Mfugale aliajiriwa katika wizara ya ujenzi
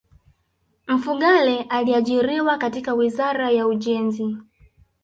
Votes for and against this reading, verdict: 1, 2, rejected